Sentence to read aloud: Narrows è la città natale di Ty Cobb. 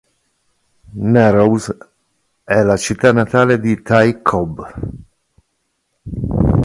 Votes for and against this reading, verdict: 2, 0, accepted